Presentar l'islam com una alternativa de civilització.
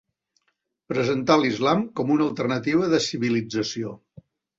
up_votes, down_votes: 2, 0